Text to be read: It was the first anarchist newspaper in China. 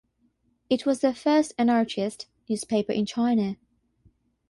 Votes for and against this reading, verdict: 3, 0, accepted